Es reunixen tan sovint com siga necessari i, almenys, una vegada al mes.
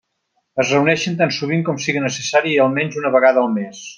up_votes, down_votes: 0, 2